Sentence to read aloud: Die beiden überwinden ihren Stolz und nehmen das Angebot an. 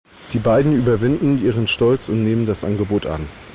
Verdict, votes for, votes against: accepted, 2, 0